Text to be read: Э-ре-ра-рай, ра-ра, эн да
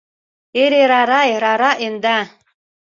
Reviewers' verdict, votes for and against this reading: accepted, 2, 0